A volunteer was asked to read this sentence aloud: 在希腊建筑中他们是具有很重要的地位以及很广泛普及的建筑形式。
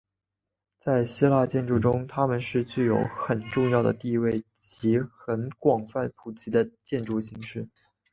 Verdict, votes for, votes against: rejected, 0, 2